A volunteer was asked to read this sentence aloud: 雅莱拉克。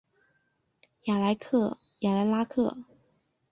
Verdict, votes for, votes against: rejected, 1, 2